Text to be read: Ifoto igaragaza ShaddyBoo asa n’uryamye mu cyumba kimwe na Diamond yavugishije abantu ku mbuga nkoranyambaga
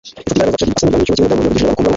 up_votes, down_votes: 0, 2